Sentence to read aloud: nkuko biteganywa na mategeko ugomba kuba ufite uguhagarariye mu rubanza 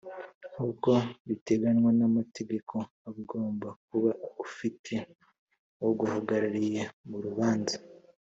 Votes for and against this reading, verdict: 3, 1, accepted